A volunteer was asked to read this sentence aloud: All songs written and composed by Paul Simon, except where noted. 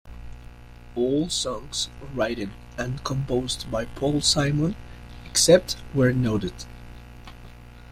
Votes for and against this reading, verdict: 1, 2, rejected